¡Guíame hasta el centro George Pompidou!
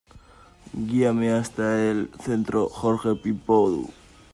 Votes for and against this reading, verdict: 0, 2, rejected